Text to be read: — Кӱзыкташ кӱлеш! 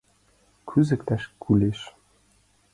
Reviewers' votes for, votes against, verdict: 0, 2, rejected